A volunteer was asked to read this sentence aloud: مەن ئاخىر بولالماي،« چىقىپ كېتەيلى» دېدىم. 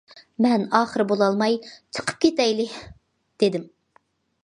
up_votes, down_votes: 2, 0